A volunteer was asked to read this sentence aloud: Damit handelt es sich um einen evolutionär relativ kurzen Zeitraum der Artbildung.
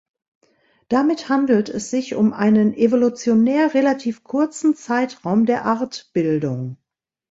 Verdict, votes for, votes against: accepted, 2, 0